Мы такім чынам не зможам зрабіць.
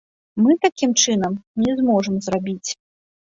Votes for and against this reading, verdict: 2, 0, accepted